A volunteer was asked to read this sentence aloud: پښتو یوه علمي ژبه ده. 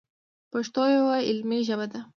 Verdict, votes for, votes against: accepted, 2, 0